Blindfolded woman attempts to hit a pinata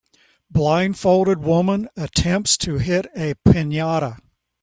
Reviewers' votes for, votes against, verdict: 2, 0, accepted